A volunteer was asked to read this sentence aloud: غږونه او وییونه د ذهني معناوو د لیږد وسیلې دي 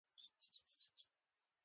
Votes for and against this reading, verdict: 2, 0, accepted